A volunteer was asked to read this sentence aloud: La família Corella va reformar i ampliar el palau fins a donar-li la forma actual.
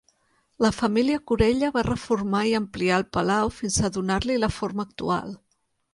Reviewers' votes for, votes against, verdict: 3, 0, accepted